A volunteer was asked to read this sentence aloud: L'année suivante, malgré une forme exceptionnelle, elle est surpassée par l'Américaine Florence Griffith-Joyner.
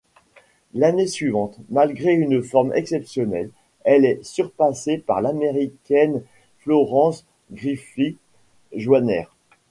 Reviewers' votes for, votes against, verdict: 1, 2, rejected